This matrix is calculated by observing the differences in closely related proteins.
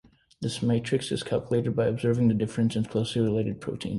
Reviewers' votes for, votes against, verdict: 2, 0, accepted